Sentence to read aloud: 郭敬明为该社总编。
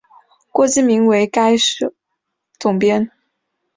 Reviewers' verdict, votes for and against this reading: accepted, 2, 0